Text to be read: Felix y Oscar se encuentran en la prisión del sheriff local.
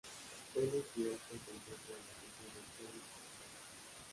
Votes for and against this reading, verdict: 0, 2, rejected